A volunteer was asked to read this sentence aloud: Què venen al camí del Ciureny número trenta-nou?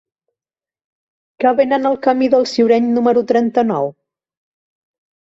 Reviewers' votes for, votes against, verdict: 1, 2, rejected